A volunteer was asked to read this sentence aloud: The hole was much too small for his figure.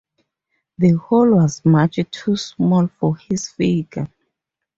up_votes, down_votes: 0, 4